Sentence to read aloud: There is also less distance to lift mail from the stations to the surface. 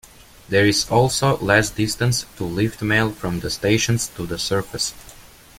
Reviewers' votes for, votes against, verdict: 2, 0, accepted